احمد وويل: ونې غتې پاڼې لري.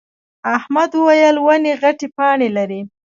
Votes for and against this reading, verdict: 1, 2, rejected